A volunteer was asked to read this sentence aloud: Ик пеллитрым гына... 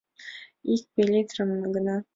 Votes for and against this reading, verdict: 2, 0, accepted